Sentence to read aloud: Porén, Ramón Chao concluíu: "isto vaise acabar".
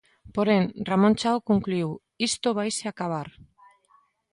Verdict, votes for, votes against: accepted, 2, 0